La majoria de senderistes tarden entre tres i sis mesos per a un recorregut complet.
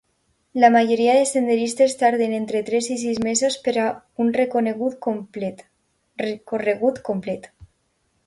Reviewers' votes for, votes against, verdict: 2, 1, accepted